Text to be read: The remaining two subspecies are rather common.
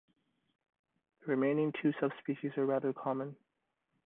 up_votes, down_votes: 2, 0